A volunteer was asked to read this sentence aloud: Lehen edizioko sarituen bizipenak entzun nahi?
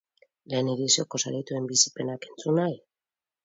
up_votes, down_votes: 4, 2